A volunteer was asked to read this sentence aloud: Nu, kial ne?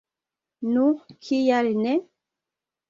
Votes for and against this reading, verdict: 3, 1, accepted